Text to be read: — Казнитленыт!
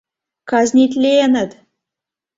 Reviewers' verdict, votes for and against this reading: accepted, 2, 0